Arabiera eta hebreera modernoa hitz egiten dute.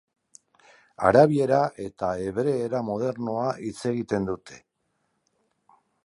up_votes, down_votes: 2, 0